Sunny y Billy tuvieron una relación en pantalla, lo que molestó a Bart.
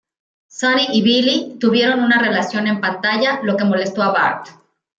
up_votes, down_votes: 2, 0